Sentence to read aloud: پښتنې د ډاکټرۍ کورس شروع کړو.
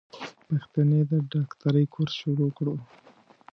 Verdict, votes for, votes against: accepted, 2, 0